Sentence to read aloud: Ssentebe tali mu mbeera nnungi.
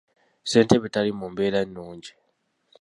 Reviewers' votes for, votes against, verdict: 2, 0, accepted